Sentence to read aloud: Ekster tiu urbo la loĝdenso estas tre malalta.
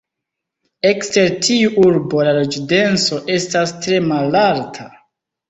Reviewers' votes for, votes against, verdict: 1, 2, rejected